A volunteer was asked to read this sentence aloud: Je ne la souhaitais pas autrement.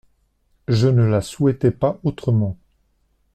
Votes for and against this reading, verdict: 2, 0, accepted